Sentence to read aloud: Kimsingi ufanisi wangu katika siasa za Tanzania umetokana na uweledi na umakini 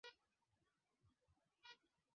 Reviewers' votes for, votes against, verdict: 0, 9, rejected